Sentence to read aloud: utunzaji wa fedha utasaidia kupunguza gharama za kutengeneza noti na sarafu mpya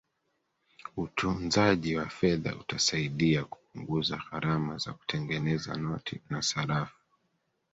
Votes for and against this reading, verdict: 1, 2, rejected